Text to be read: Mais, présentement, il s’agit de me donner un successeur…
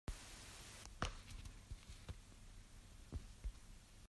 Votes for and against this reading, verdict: 0, 2, rejected